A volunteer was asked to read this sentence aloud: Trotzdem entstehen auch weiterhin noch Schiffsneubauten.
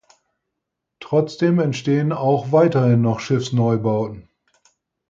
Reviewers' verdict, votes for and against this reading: accepted, 4, 0